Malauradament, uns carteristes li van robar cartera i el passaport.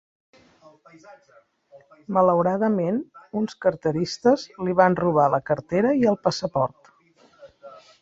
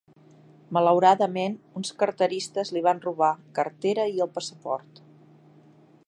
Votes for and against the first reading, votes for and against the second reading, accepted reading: 0, 2, 2, 0, second